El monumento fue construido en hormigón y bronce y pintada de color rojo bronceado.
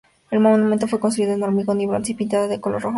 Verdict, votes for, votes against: rejected, 0, 2